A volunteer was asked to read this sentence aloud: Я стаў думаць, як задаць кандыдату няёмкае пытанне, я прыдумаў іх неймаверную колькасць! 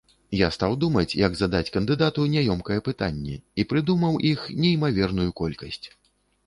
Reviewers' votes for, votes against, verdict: 1, 2, rejected